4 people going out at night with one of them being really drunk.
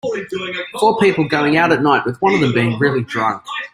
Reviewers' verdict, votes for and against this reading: rejected, 0, 2